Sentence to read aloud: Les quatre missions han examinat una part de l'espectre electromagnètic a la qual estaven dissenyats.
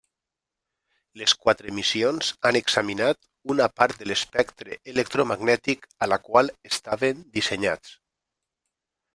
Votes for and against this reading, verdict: 3, 0, accepted